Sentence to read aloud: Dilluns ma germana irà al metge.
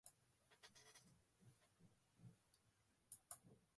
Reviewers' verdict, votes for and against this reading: rejected, 0, 3